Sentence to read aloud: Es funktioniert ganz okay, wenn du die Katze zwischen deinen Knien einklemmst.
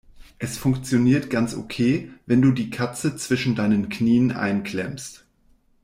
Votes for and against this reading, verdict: 2, 0, accepted